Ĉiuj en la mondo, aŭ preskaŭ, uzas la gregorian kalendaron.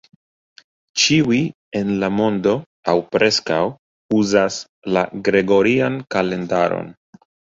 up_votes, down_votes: 2, 0